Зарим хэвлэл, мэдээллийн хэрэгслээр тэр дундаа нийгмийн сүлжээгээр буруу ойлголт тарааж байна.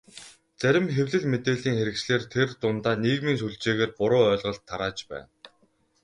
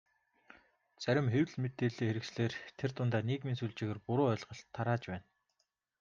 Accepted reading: second